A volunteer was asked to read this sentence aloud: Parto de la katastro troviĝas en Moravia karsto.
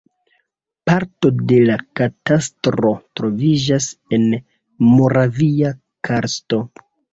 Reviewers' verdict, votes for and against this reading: rejected, 0, 2